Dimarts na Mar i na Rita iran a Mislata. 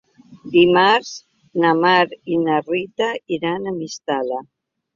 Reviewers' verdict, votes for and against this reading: rejected, 1, 2